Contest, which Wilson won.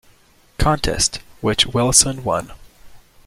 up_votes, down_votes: 2, 0